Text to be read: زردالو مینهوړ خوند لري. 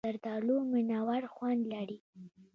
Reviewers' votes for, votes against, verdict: 1, 2, rejected